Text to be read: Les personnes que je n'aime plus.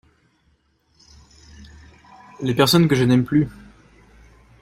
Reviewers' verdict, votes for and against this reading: accepted, 2, 0